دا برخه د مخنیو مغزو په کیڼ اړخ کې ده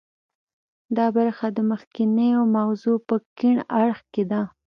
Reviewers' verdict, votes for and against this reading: accepted, 2, 0